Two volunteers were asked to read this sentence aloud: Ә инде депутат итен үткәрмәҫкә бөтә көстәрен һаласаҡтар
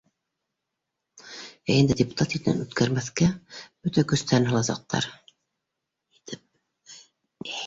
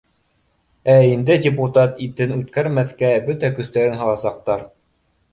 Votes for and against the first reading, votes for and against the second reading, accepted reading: 1, 2, 2, 0, second